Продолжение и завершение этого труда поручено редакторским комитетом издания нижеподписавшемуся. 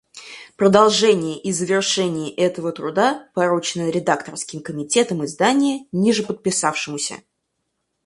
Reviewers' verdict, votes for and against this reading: rejected, 2, 4